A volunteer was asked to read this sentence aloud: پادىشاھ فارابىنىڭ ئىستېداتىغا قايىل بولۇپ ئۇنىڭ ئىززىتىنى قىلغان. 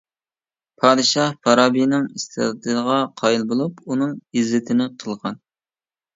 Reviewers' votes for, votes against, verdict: 1, 2, rejected